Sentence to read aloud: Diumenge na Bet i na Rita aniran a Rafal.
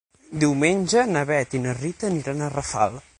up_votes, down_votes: 9, 0